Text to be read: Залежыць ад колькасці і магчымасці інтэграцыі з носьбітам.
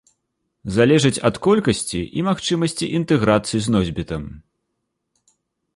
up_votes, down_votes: 2, 0